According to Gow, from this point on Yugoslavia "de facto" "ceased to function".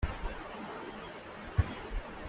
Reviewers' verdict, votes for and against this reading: rejected, 0, 2